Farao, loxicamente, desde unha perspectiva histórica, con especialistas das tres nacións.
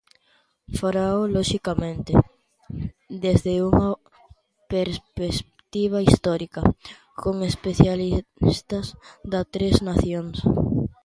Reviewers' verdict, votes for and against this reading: rejected, 0, 2